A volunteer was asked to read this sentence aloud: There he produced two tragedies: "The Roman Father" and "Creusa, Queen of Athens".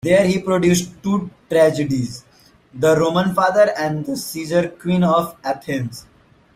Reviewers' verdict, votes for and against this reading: rejected, 0, 2